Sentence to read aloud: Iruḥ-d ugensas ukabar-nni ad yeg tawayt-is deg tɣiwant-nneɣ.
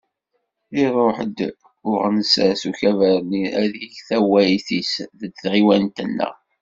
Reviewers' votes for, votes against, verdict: 0, 2, rejected